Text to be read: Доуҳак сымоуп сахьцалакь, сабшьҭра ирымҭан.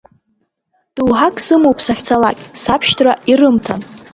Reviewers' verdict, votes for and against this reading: accepted, 2, 0